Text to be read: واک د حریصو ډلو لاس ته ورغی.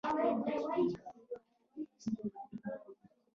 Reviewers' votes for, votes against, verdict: 0, 2, rejected